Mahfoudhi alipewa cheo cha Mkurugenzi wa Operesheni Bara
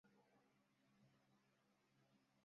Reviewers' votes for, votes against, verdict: 0, 2, rejected